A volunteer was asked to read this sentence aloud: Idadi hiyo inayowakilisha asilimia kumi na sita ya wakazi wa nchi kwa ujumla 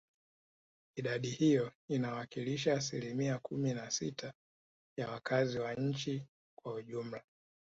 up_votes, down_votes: 3, 0